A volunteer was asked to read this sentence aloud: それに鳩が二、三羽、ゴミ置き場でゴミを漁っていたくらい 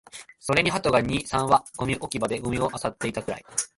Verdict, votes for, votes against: rejected, 1, 2